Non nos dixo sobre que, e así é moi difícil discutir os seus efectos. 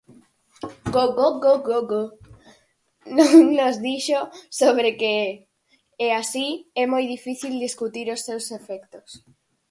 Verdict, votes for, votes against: rejected, 0, 4